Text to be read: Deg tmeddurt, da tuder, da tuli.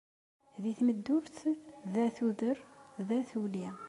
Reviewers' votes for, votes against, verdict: 2, 0, accepted